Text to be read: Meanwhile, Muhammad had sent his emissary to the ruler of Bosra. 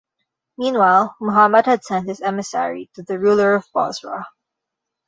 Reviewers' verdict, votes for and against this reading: accepted, 2, 0